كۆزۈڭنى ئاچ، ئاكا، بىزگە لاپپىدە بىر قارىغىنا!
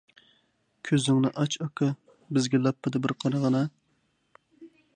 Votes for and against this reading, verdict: 2, 0, accepted